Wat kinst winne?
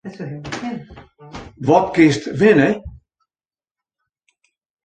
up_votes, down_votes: 0, 2